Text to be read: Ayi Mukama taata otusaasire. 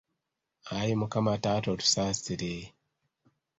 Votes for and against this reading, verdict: 2, 0, accepted